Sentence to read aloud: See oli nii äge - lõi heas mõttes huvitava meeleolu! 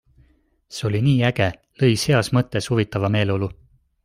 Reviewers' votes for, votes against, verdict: 2, 1, accepted